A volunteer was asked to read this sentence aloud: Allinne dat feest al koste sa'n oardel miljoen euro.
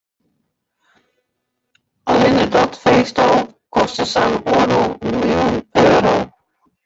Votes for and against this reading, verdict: 0, 2, rejected